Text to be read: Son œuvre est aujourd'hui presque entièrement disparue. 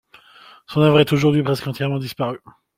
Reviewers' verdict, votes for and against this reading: accepted, 2, 0